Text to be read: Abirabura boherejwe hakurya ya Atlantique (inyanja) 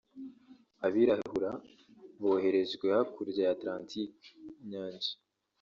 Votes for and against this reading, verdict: 2, 0, accepted